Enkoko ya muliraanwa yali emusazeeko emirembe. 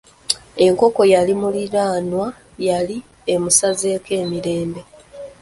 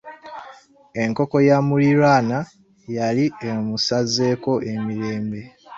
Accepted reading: second